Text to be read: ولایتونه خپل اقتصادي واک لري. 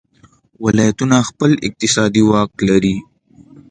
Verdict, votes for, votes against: accepted, 2, 0